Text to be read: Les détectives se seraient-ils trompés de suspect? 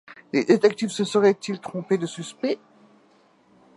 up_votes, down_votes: 2, 0